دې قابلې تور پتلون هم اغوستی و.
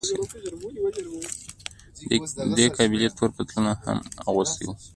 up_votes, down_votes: 2, 1